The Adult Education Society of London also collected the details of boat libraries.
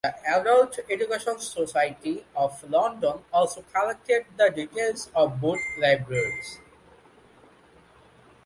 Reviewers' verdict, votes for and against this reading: accepted, 2, 0